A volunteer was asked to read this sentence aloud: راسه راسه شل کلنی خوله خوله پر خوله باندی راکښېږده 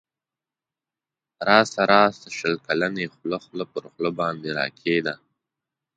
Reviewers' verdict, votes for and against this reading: rejected, 1, 2